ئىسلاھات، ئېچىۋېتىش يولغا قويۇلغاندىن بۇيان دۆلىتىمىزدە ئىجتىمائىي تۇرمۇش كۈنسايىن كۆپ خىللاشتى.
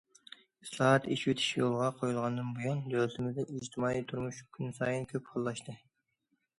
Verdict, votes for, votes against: accepted, 2, 0